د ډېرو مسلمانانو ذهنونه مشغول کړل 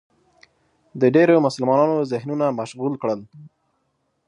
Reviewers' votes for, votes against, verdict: 5, 0, accepted